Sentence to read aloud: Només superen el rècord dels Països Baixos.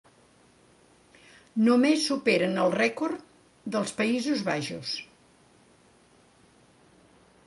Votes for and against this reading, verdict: 1, 2, rejected